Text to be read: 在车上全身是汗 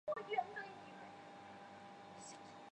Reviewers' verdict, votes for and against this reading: rejected, 0, 3